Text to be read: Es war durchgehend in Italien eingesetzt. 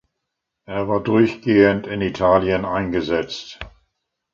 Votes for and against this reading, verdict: 0, 2, rejected